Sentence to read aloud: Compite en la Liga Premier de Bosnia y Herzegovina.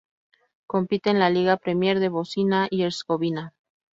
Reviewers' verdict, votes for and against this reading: rejected, 0, 2